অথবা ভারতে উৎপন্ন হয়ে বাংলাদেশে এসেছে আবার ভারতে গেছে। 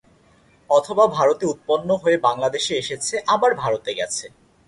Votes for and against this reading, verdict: 4, 0, accepted